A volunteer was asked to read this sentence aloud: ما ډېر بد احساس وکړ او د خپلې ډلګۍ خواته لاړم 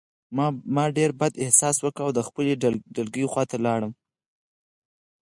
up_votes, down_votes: 4, 0